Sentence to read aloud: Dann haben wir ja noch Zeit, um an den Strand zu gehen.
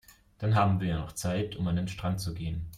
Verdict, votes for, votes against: accepted, 2, 0